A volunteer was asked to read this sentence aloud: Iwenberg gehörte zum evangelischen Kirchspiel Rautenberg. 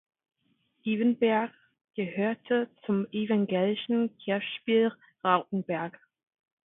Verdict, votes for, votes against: rejected, 1, 2